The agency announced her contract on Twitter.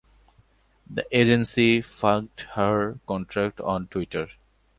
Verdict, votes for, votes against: rejected, 0, 2